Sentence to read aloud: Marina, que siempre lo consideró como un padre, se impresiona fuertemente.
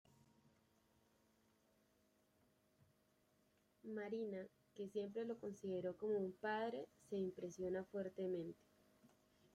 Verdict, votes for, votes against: rejected, 0, 2